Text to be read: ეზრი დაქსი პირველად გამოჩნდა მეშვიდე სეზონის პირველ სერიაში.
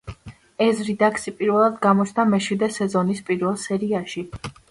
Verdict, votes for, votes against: accepted, 2, 0